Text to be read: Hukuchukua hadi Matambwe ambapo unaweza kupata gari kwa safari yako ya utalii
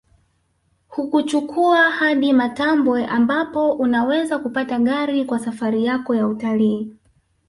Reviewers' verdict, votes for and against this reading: accepted, 2, 0